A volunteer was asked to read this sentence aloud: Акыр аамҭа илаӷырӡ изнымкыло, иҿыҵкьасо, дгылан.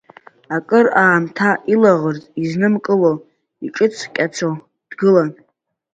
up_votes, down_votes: 2, 0